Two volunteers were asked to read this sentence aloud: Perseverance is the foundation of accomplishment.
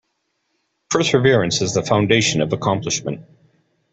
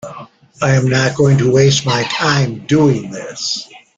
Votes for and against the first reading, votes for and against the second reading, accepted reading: 2, 0, 0, 2, first